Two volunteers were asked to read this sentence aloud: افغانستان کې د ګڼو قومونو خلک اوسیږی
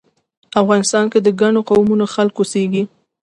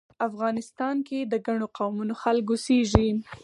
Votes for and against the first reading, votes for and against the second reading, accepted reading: 2, 0, 2, 4, first